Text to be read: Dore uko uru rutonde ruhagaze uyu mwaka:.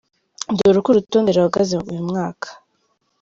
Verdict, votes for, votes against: accepted, 2, 1